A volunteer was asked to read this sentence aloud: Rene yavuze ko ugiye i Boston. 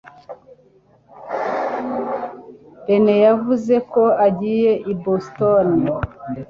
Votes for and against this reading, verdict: 1, 2, rejected